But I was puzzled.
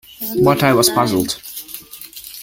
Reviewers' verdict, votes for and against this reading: accepted, 2, 0